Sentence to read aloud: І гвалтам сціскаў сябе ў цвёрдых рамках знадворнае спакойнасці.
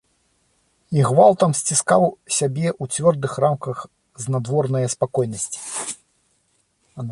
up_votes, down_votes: 0, 2